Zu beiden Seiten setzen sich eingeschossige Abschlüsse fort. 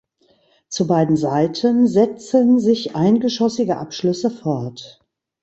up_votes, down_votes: 2, 0